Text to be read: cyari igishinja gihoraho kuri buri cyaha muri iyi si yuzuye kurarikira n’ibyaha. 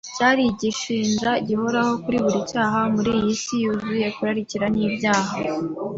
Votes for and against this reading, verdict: 2, 0, accepted